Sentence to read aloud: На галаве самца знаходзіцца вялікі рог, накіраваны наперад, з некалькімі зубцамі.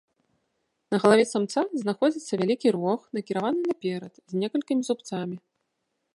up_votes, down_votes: 2, 0